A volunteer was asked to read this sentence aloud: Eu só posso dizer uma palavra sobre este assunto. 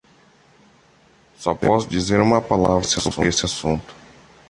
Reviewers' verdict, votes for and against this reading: rejected, 1, 2